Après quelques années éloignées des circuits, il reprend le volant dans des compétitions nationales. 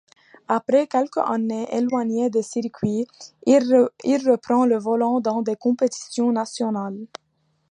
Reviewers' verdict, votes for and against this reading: rejected, 1, 2